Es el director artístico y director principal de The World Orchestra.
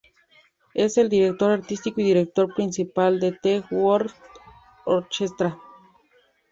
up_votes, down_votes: 0, 2